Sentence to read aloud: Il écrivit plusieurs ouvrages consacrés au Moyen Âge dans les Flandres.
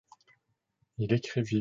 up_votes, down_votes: 0, 2